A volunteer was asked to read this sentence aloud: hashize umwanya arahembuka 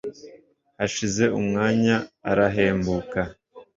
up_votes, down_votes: 1, 2